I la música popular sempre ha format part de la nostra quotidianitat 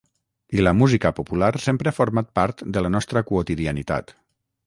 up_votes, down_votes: 6, 0